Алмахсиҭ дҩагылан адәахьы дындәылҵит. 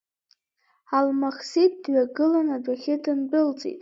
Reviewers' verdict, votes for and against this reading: accepted, 3, 0